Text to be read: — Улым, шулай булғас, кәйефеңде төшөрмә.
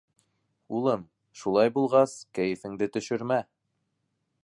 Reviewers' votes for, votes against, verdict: 2, 0, accepted